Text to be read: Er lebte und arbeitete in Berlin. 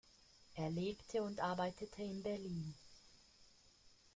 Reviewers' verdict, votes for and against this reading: accepted, 2, 0